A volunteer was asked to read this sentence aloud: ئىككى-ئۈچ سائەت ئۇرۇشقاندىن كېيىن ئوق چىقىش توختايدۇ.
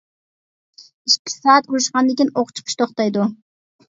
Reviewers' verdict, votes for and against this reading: rejected, 1, 2